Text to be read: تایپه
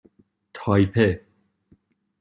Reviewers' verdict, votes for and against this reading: accepted, 2, 0